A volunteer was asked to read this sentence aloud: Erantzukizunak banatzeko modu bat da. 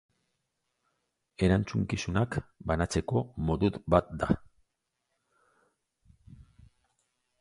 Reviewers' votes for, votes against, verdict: 2, 0, accepted